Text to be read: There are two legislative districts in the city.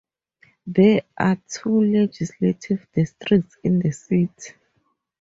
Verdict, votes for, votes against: accepted, 6, 0